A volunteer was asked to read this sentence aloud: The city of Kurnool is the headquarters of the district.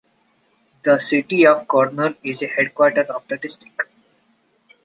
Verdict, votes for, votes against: accepted, 2, 1